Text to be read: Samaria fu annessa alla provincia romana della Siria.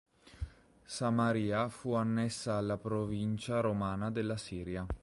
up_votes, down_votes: 3, 0